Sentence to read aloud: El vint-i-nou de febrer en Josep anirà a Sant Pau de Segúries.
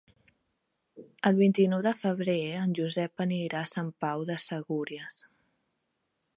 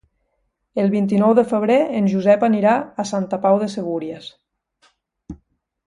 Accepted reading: first